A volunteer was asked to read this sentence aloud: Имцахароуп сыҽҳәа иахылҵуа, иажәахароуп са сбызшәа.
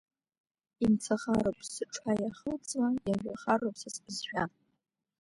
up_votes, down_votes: 0, 2